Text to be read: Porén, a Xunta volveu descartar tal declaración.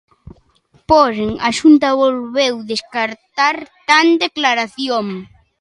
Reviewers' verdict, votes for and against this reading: rejected, 0, 2